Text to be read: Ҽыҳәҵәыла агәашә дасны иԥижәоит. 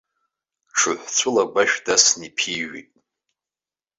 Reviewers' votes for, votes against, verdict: 0, 2, rejected